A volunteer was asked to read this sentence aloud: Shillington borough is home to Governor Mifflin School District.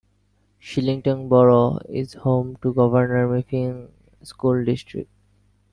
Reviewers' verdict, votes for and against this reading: rejected, 1, 2